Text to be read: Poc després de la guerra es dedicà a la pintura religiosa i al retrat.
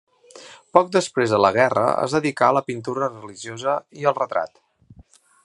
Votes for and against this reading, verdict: 2, 0, accepted